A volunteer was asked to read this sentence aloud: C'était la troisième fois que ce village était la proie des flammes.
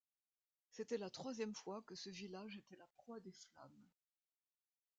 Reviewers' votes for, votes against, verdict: 2, 1, accepted